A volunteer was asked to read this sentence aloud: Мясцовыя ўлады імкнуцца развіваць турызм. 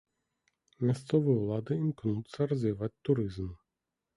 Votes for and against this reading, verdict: 2, 0, accepted